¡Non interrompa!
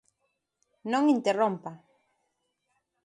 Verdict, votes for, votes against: accepted, 2, 0